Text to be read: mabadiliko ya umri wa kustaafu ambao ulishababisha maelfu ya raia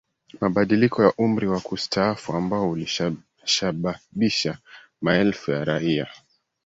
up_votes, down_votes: 1, 2